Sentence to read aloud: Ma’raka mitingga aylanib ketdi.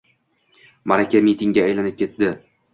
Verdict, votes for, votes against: rejected, 1, 2